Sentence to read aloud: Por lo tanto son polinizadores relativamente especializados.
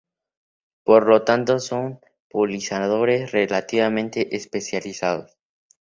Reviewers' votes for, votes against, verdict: 0, 2, rejected